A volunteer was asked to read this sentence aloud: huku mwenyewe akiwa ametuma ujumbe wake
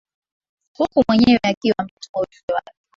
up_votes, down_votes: 2, 0